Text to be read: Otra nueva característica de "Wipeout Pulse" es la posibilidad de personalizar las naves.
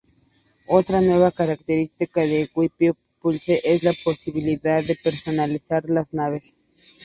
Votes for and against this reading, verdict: 0, 2, rejected